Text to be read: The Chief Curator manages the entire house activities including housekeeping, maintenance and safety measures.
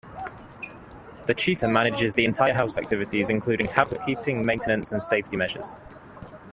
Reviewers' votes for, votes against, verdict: 0, 2, rejected